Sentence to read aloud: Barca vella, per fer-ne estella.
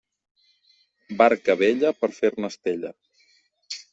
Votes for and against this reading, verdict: 2, 0, accepted